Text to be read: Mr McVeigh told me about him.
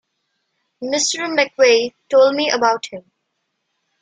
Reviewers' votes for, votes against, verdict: 2, 0, accepted